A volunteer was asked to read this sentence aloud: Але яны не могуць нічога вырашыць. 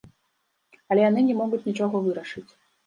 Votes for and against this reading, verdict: 2, 0, accepted